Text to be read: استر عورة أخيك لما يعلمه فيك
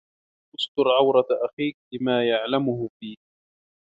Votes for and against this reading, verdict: 1, 2, rejected